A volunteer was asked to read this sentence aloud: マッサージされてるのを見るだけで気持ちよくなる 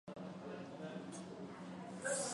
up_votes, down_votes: 0, 2